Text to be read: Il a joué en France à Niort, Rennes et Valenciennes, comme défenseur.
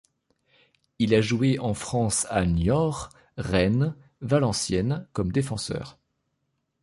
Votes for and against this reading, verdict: 1, 3, rejected